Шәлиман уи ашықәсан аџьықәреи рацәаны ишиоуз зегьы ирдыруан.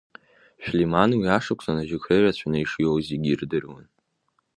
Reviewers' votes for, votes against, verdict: 1, 2, rejected